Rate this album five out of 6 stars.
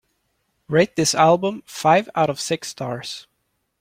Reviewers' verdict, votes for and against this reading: rejected, 0, 2